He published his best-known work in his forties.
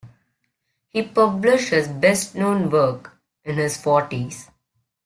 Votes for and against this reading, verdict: 1, 2, rejected